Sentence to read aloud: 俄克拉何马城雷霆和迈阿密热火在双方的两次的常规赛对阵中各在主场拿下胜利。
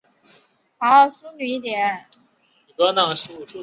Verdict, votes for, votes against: rejected, 1, 3